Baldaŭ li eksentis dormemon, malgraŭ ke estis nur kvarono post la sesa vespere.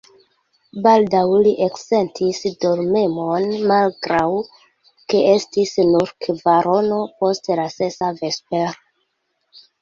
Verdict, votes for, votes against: accepted, 2, 1